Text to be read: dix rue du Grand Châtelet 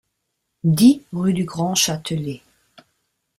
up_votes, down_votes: 2, 1